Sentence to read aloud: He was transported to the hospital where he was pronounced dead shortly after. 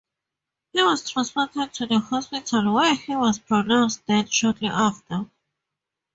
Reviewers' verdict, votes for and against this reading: rejected, 0, 2